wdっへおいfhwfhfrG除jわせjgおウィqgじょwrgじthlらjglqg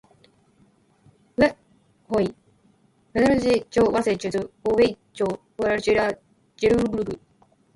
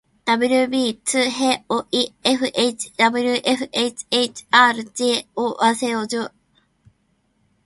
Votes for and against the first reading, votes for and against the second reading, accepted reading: 2, 1, 1, 2, first